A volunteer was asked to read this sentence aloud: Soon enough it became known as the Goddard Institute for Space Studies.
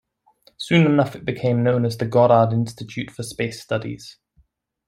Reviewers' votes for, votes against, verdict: 1, 2, rejected